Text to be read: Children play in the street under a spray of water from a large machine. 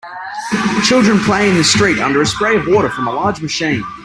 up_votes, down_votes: 2, 0